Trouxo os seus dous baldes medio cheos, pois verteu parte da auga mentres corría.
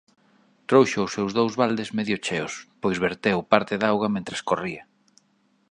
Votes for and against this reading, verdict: 2, 0, accepted